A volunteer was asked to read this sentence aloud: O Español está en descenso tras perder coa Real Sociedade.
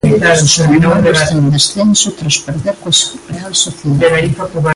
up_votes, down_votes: 0, 2